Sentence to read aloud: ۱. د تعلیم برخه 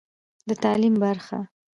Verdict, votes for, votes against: rejected, 0, 2